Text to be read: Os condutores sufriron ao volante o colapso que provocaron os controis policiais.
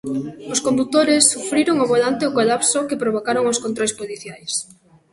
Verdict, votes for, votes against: accepted, 2, 0